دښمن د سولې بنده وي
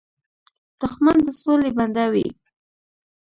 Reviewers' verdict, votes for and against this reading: accepted, 2, 1